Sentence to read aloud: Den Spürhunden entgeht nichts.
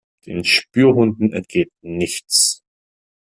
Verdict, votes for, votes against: accepted, 2, 0